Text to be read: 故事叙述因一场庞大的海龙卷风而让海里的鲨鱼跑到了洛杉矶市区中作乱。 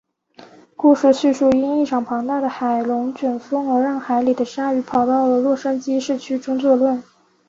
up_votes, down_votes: 4, 1